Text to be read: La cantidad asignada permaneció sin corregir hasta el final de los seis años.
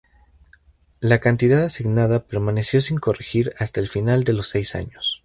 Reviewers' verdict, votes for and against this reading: rejected, 2, 2